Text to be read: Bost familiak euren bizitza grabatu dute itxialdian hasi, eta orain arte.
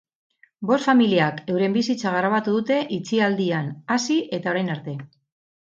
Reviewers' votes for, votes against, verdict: 4, 0, accepted